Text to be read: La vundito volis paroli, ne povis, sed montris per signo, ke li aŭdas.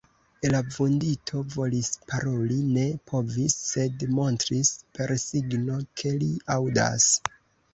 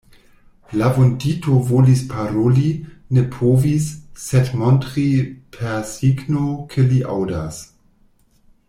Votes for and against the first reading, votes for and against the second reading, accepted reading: 2, 0, 0, 2, first